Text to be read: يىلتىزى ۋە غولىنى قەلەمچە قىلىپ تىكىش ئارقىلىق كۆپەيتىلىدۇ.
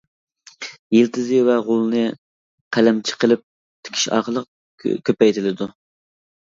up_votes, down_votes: 2, 0